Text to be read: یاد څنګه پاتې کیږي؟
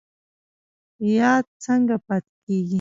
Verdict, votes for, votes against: rejected, 1, 2